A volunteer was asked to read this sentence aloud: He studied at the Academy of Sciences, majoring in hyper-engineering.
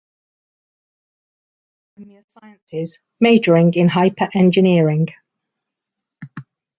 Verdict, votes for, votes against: rejected, 0, 2